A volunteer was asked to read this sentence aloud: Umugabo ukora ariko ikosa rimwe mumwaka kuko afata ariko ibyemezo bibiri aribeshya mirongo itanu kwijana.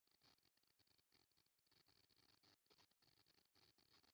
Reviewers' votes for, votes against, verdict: 0, 2, rejected